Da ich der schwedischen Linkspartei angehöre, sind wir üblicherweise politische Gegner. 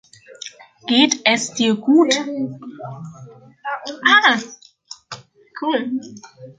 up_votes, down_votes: 0, 2